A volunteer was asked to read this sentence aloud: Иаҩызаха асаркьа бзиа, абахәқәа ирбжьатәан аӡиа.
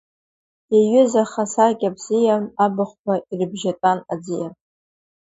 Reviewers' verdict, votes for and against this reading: rejected, 1, 2